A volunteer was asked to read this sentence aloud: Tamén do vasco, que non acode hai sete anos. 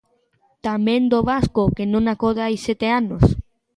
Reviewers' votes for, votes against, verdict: 2, 1, accepted